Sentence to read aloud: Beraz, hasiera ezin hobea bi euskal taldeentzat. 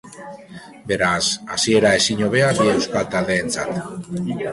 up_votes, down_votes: 2, 1